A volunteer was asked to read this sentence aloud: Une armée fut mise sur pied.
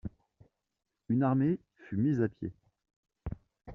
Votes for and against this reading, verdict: 1, 2, rejected